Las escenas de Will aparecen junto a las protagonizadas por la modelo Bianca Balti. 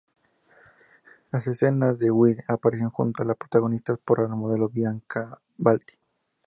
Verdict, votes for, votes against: accepted, 2, 0